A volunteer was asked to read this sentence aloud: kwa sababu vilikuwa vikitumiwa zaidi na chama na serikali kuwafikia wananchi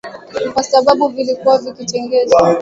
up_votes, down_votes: 0, 2